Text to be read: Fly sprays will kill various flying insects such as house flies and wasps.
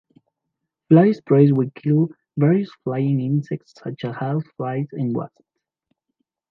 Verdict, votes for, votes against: accepted, 2, 1